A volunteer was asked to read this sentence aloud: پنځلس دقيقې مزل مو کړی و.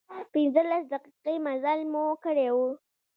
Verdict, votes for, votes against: rejected, 0, 2